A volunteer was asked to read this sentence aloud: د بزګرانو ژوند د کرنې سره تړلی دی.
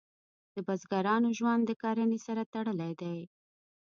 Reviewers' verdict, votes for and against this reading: accepted, 2, 0